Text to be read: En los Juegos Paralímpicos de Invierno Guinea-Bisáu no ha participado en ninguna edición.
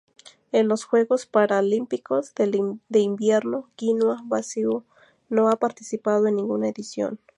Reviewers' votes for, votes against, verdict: 2, 0, accepted